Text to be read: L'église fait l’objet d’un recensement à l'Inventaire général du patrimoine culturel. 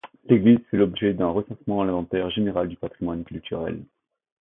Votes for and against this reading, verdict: 0, 2, rejected